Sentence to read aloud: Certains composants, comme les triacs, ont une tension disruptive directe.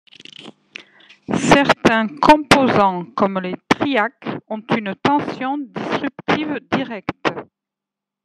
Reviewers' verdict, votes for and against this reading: rejected, 1, 2